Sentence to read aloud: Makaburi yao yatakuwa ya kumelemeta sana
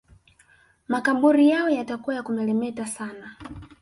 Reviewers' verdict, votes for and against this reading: accepted, 2, 1